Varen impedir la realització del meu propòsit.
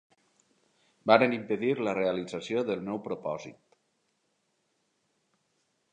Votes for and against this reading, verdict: 2, 0, accepted